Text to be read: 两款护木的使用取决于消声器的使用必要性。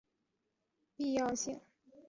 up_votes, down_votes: 1, 3